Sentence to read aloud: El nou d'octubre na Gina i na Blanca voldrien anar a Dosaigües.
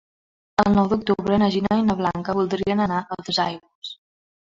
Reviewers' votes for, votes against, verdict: 2, 1, accepted